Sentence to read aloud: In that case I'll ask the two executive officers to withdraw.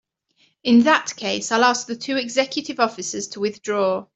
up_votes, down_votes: 2, 0